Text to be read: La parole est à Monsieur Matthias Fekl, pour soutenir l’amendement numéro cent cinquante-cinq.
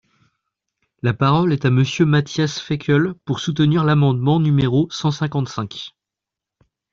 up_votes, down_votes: 2, 0